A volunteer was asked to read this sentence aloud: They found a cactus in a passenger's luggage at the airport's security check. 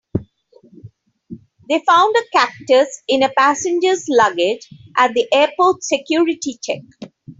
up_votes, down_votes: 3, 0